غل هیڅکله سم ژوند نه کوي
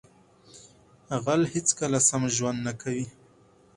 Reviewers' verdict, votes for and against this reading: accepted, 4, 0